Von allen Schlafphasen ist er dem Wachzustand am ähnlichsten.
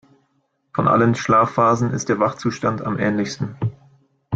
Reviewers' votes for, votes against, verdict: 0, 2, rejected